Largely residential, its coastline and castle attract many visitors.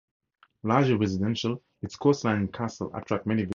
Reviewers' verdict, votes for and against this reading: rejected, 0, 2